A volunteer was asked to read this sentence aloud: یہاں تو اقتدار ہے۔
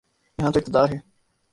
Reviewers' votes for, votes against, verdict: 0, 2, rejected